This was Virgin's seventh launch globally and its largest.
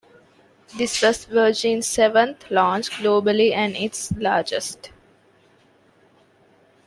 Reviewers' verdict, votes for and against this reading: accepted, 2, 0